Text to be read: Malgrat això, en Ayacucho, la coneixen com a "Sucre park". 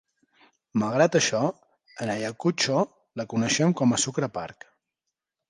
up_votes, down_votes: 2, 0